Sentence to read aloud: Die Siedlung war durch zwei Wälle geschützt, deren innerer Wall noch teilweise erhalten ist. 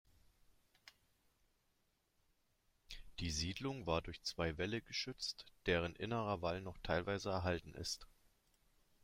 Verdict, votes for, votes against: accepted, 2, 0